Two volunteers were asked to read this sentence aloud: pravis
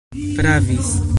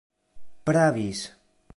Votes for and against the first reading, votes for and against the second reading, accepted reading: 1, 2, 2, 0, second